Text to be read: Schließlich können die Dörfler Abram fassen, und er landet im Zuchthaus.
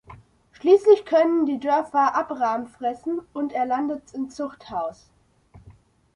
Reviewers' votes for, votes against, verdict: 0, 2, rejected